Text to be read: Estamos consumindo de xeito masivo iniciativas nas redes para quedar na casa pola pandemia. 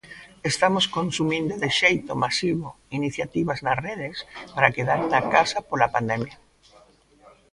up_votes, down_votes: 1, 2